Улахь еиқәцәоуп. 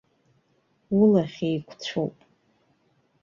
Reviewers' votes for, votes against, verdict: 1, 2, rejected